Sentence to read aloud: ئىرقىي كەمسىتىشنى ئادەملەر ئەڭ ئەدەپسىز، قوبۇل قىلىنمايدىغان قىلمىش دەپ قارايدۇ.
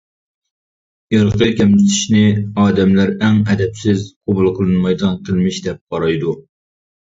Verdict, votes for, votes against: rejected, 0, 2